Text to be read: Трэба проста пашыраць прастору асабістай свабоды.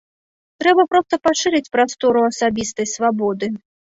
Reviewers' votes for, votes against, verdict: 0, 2, rejected